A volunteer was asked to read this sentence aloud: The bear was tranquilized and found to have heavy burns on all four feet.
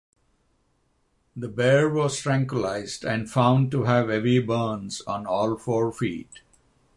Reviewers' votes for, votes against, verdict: 6, 0, accepted